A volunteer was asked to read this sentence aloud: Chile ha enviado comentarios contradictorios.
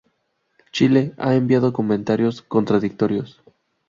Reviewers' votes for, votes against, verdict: 0, 2, rejected